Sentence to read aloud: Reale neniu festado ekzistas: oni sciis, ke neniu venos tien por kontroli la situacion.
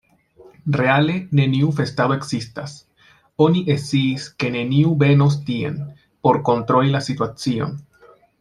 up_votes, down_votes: 0, 2